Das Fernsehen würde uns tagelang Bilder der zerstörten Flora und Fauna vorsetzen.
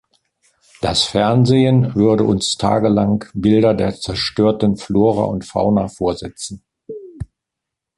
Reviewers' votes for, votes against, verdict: 2, 0, accepted